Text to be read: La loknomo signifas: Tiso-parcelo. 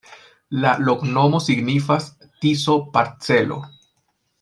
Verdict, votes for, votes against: accepted, 2, 0